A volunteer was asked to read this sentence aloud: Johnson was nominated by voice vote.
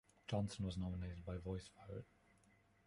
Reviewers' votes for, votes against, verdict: 1, 2, rejected